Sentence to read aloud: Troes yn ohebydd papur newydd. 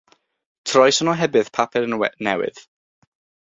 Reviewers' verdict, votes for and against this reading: rejected, 3, 6